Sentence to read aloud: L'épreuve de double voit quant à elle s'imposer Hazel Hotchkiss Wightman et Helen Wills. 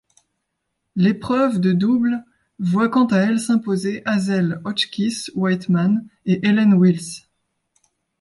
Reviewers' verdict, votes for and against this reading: accepted, 2, 0